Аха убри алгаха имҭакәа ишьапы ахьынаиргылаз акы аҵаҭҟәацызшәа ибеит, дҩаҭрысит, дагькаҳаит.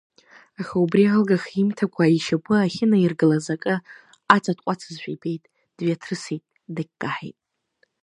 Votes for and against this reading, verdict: 2, 0, accepted